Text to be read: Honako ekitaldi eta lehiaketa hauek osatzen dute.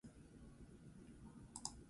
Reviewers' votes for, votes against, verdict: 0, 2, rejected